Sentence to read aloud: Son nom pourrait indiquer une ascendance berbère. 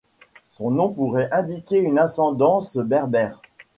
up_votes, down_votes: 2, 0